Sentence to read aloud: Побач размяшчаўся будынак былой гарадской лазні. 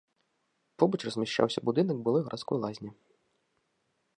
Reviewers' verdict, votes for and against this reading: accepted, 2, 0